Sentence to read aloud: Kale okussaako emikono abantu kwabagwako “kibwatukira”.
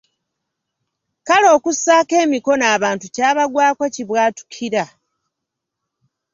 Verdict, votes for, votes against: rejected, 1, 2